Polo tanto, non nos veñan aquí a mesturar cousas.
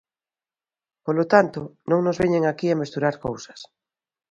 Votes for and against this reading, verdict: 2, 0, accepted